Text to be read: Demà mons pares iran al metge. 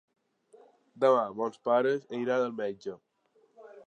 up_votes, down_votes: 2, 0